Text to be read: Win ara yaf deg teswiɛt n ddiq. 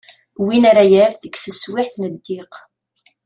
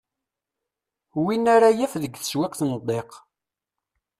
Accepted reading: first